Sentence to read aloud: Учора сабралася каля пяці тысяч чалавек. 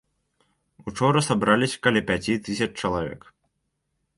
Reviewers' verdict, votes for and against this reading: rejected, 0, 2